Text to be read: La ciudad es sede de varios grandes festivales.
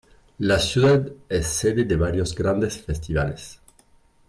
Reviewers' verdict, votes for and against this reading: accepted, 2, 1